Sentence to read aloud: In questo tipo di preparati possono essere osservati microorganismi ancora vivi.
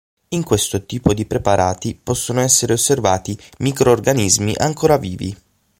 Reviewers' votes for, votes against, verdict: 6, 0, accepted